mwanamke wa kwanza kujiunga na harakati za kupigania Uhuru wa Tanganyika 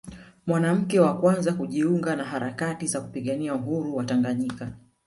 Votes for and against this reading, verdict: 3, 1, accepted